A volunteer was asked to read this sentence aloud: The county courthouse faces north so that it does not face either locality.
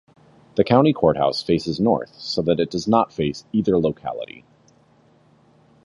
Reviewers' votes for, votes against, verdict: 2, 1, accepted